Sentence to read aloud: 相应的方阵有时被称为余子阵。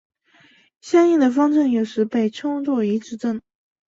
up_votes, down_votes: 0, 2